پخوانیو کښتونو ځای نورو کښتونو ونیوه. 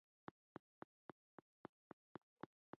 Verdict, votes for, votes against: rejected, 0, 2